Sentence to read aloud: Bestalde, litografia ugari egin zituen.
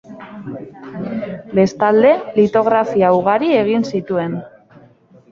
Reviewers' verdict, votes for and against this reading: rejected, 0, 2